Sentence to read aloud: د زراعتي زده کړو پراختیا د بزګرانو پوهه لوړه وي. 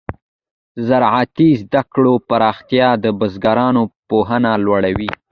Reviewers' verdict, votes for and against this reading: accepted, 2, 0